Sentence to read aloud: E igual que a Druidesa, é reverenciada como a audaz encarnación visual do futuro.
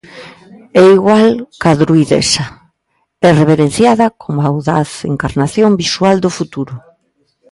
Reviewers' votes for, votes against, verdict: 1, 2, rejected